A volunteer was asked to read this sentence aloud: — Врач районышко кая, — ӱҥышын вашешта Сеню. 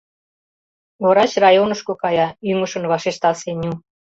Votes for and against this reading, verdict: 2, 0, accepted